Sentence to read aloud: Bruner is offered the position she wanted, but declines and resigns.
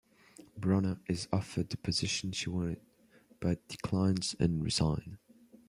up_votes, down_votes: 0, 2